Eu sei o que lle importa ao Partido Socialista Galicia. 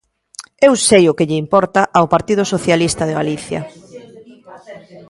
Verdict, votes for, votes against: rejected, 0, 3